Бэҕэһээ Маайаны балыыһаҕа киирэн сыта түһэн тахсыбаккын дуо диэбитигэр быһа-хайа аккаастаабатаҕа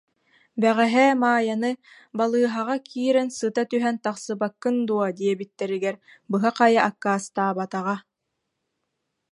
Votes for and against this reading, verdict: 0, 2, rejected